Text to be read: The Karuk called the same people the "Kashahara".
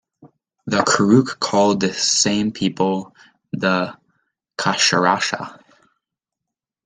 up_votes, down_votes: 1, 2